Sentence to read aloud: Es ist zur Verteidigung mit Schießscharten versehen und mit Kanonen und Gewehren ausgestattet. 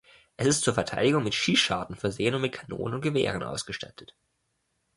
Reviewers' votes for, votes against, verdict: 1, 2, rejected